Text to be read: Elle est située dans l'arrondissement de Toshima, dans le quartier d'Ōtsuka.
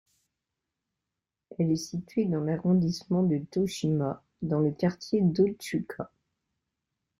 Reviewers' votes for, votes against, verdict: 2, 0, accepted